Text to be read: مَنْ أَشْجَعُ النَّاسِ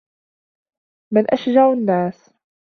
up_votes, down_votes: 2, 0